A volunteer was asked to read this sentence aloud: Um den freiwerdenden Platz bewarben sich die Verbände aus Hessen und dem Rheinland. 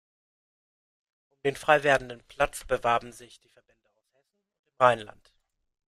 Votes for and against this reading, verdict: 0, 2, rejected